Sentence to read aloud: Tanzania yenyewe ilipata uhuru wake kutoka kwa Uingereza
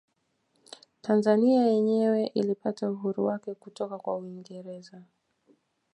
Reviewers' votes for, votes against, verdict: 2, 0, accepted